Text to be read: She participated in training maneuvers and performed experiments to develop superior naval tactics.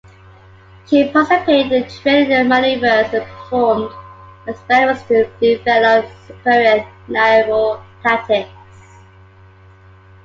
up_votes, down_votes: 0, 2